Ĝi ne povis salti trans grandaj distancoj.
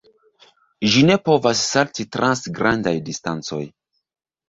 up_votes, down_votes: 0, 2